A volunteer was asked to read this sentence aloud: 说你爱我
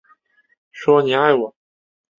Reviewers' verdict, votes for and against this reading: accepted, 5, 0